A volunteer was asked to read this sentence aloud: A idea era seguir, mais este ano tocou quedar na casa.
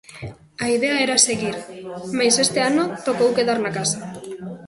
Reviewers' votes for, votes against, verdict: 0, 2, rejected